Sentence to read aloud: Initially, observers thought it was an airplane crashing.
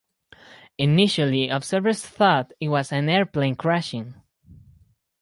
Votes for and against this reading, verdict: 4, 2, accepted